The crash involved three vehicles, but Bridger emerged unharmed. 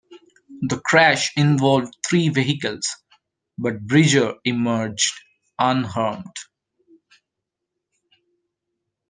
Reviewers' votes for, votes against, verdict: 2, 0, accepted